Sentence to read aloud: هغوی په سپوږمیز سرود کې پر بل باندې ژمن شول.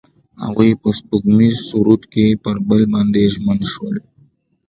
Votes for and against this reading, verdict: 2, 0, accepted